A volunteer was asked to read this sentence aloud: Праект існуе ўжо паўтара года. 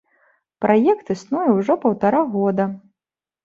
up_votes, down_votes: 2, 0